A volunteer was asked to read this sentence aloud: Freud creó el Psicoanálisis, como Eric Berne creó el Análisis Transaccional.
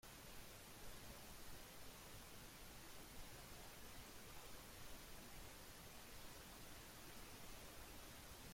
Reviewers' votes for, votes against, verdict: 0, 2, rejected